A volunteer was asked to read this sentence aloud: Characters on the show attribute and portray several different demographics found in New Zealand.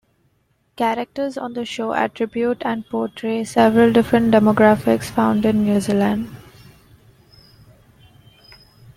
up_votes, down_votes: 2, 0